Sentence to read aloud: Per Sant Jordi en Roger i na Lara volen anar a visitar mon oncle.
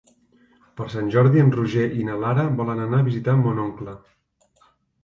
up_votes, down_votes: 3, 0